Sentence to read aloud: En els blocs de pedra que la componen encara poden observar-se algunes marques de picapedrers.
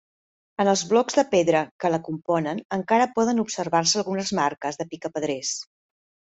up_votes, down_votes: 3, 0